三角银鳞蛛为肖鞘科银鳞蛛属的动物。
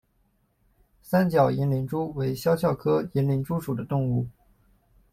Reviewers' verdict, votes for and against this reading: accepted, 2, 0